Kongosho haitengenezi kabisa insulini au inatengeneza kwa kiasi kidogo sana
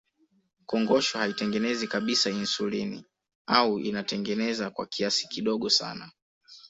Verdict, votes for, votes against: accepted, 3, 0